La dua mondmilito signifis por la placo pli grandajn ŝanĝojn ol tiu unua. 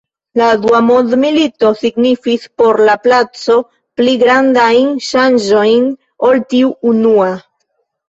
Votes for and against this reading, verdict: 1, 2, rejected